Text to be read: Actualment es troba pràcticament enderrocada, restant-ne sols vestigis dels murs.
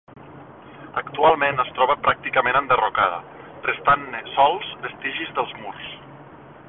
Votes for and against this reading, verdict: 0, 2, rejected